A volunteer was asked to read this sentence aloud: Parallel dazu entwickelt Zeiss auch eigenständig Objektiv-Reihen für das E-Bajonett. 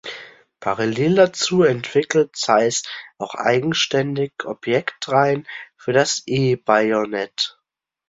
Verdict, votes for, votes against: rejected, 1, 2